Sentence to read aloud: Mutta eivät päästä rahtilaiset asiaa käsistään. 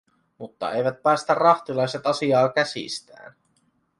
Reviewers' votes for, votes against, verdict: 2, 0, accepted